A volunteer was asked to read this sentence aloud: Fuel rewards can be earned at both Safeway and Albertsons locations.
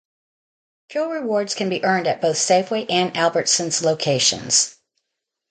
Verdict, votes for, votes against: accepted, 2, 0